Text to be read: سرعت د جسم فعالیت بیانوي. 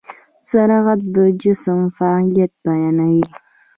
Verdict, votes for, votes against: rejected, 1, 2